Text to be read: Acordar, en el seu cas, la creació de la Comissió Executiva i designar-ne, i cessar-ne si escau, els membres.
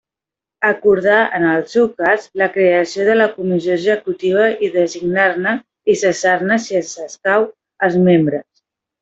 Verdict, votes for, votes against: rejected, 0, 2